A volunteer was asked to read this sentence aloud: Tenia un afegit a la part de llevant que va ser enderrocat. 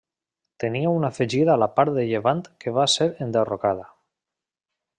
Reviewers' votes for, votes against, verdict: 0, 2, rejected